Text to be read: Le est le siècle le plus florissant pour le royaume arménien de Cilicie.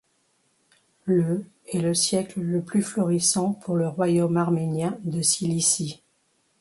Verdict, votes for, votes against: accepted, 2, 1